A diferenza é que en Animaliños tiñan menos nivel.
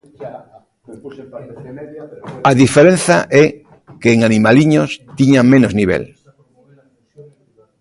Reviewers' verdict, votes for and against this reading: rejected, 1, 2